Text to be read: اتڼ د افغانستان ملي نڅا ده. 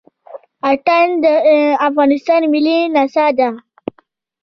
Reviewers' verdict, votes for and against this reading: rejected, 0, 2